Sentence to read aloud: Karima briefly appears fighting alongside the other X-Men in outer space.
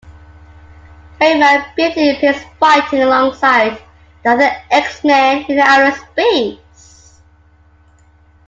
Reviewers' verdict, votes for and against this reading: accepted, 2, 1